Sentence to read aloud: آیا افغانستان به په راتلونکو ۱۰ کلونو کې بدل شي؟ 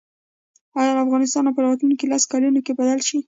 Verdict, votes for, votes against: rejected, 0, 2